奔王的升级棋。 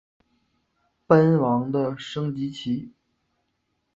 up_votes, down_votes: 2, 0